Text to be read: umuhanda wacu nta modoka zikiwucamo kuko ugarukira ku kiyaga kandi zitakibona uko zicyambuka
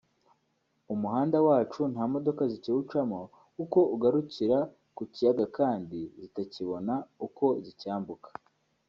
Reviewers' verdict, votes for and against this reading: accepted, 2, 0